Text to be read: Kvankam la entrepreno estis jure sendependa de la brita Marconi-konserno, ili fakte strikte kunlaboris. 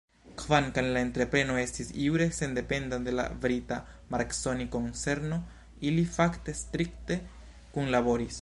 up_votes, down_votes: 1, 2